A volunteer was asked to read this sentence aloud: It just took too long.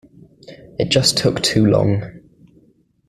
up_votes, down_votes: 2, 0